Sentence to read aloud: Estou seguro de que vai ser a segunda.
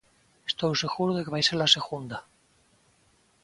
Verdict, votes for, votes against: accepted, 2, 0